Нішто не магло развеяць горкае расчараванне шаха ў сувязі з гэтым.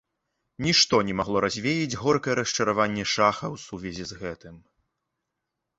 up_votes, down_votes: 2, 0